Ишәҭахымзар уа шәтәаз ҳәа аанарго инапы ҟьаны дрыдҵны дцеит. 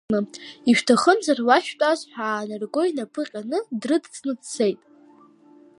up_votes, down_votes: 0, 2